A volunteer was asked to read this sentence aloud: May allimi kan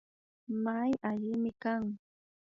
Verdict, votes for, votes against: rejected, 0, 2